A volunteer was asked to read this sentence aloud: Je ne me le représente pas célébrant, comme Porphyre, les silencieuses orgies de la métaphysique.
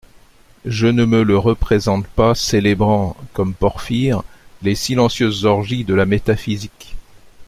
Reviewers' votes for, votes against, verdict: 2, 0, accepted